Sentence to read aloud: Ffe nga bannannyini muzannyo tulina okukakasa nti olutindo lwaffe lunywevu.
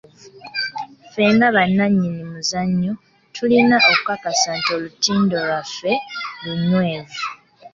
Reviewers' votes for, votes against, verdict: 2, 0, accepted